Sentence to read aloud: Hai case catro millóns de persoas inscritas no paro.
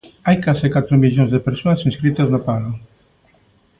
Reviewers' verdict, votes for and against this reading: accepted, 2, 0